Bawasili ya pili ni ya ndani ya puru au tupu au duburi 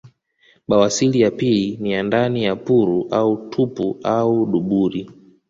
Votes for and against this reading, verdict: 1, 2, rejected